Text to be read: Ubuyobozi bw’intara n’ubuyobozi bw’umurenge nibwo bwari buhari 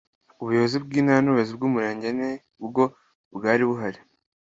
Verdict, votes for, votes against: accepted, 2, 0